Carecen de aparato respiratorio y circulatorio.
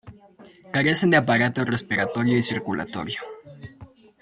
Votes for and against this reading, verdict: 2, 0, accepted